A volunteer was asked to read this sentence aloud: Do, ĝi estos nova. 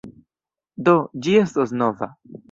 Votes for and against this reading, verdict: 2, 0, accepted